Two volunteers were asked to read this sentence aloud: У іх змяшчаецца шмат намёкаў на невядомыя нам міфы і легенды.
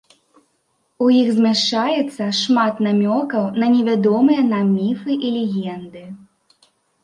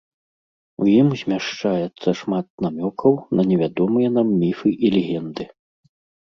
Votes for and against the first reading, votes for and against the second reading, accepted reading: 2, 0, 1, 2, first